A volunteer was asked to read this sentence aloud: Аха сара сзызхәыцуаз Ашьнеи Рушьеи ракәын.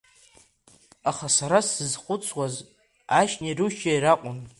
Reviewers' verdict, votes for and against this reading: rejected, 1, 2